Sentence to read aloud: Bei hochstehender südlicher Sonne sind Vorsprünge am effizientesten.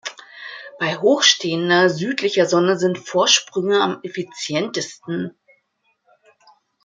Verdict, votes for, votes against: accepted, 2, 0